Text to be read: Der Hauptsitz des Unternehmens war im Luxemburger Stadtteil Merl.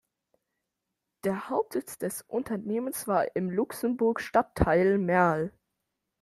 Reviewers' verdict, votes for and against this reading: rejected, 1, 2